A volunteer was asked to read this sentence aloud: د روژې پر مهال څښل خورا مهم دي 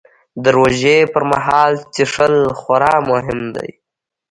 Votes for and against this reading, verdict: 2, 0, accepted